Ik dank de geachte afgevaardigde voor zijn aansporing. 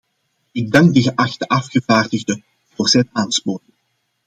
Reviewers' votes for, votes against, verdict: 2, 1, accepted